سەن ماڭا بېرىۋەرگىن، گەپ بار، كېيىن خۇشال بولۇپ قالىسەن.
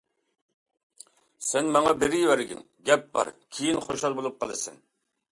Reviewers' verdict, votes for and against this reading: accepted, 2, 0